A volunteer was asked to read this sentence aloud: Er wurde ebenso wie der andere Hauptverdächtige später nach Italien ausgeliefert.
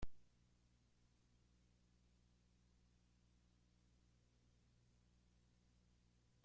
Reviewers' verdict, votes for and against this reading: rejected, 0, 2